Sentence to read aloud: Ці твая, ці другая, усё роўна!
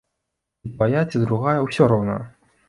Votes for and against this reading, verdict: 0, 2, rejected